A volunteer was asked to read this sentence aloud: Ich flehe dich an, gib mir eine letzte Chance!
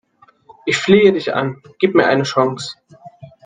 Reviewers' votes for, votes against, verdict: 0, 2, rejected